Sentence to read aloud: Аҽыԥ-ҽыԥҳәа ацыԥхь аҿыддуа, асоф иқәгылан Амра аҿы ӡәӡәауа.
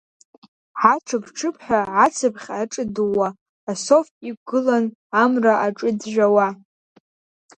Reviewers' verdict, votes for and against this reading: accepted, 2, 1